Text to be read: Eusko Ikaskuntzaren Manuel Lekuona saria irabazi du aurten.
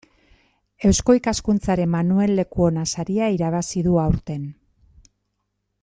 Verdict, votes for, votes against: accepted, 2, 0